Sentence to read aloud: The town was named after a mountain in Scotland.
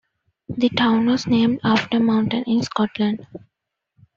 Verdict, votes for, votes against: accepted, 2, 0